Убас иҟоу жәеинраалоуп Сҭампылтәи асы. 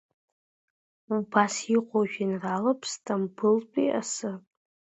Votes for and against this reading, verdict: 2, 1, accepted